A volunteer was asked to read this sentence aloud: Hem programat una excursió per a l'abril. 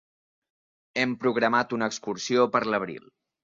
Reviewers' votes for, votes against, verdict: 1, 2, rejected